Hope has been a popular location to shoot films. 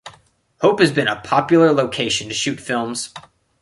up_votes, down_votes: 0, 2